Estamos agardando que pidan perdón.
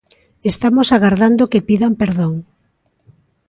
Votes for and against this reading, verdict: 2, 0, accepted